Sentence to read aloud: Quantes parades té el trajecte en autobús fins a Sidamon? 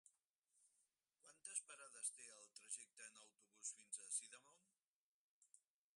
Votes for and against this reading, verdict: 2, 4, rejected